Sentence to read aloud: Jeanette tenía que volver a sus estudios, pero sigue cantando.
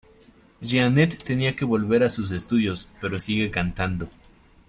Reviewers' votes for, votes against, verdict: 2, 0, accepted